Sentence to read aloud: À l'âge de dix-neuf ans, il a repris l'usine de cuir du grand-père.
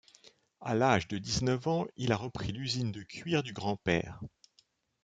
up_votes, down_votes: 2, 0